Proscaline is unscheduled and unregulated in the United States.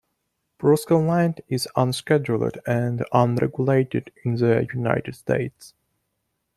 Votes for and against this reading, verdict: 2, 1, accepted